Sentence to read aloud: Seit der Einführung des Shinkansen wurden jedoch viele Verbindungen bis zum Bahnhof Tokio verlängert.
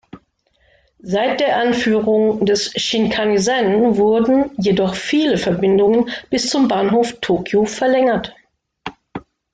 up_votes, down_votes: 1, 2